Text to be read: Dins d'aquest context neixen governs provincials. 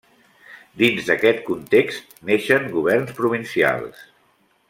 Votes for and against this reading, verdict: 3, 0, accepted